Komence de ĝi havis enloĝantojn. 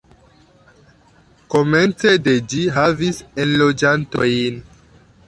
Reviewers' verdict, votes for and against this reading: rejected, 1, 2